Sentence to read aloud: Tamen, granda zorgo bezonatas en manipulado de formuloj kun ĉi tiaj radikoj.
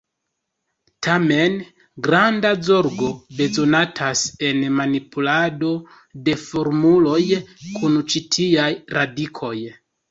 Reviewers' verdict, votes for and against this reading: rejected, 0, 2